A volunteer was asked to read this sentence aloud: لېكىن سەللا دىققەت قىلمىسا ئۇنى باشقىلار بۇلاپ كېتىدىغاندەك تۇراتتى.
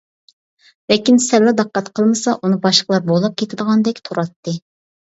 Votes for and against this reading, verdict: 0, 2, rejected